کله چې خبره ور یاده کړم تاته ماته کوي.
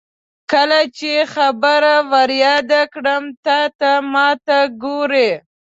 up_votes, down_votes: 0, 2